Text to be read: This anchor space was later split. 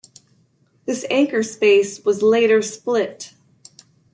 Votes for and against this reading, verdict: 2, 1, accepted